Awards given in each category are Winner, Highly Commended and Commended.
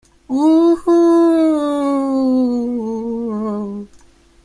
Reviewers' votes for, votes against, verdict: 0, 2, rejected